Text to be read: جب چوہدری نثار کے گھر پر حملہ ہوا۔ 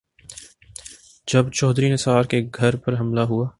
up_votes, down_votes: 5, 1